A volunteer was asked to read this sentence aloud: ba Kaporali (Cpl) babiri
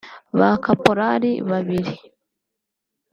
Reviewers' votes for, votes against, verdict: 3, 0, accepted